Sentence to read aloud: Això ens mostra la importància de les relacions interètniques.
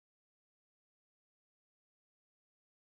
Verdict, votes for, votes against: rejected, 0, 2